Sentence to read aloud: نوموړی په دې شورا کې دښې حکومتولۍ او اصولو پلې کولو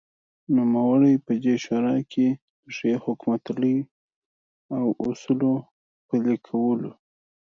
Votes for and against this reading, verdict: 2, 0, accepted